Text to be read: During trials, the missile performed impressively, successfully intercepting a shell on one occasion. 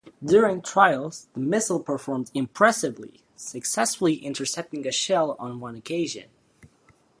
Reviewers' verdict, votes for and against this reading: accepted, 2, 0